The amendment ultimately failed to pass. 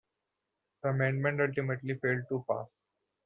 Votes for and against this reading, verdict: 2, 0, accepted